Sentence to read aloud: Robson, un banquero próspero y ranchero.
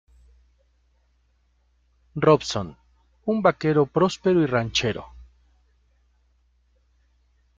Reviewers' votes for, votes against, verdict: 0, 2, rejected